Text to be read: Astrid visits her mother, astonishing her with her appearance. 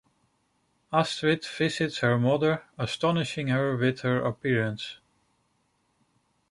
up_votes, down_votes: 2, 0